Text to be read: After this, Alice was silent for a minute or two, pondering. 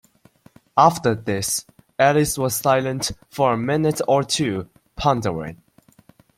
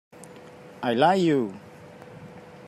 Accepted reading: first